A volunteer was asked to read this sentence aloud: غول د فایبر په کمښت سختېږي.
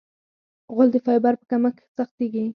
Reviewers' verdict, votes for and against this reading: accepted, 6, 0